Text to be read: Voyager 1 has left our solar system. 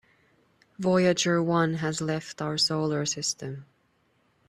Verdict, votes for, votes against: rejected, 0, 2